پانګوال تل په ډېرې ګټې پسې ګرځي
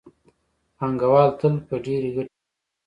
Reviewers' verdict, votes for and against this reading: rejected, 1, 2